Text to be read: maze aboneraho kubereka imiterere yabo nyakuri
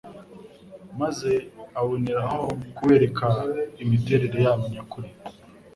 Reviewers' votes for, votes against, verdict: 2, 0, accepted